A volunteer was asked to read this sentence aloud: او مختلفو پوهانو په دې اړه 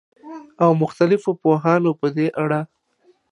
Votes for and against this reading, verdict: 2, 0, accepted